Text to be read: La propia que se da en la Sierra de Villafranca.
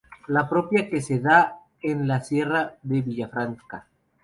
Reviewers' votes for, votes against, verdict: 0, 2, rejected